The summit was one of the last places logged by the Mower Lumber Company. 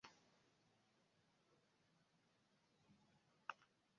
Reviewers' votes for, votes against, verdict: 0, 2, rejected